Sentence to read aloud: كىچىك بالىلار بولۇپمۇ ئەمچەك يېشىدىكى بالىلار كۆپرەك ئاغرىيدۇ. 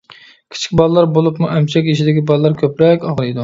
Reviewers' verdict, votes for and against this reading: accepted, 2, 1